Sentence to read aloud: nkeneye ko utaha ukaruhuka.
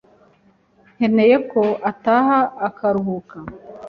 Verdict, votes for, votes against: rejected, 0, 2